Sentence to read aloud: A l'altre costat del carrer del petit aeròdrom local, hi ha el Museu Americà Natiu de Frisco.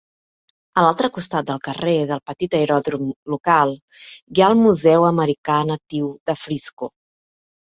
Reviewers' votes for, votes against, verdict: 3, 0, accepted